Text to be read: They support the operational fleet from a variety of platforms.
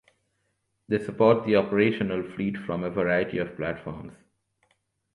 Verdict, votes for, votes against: accepted, 2, 0